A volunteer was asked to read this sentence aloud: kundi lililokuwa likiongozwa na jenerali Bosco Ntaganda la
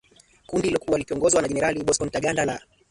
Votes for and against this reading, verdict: 3, 2, accepted